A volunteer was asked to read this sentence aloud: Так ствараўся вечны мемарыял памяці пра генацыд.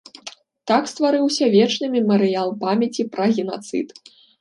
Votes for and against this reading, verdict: 1, 2, rejected